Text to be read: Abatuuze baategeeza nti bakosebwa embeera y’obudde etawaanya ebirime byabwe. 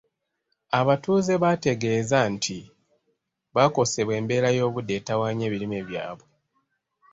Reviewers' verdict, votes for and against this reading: accepted, 2, 0